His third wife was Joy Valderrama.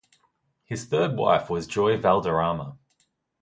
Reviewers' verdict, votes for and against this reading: accepted, 2, 0